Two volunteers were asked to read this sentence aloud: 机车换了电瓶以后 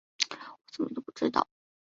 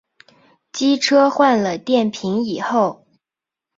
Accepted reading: second